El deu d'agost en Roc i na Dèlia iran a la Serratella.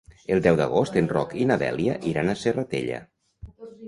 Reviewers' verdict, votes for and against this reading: rejected, 1, 2